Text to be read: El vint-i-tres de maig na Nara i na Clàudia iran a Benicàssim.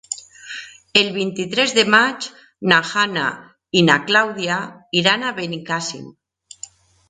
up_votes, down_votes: 0, 2